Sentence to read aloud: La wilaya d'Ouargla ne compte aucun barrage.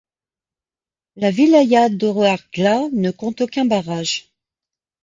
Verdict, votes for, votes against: accepted, 2, 1